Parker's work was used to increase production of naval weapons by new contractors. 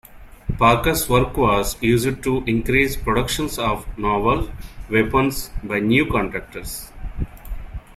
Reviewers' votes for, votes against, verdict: 0, 2, rejected